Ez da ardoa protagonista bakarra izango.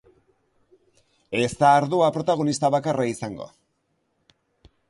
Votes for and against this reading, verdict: 3, 0, accepted